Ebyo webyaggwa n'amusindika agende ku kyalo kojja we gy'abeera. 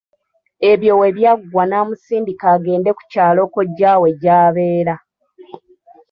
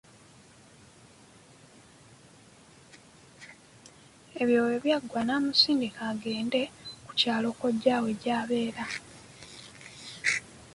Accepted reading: second